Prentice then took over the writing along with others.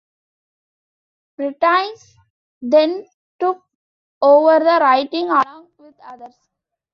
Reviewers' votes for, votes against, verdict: 2, 1, accepted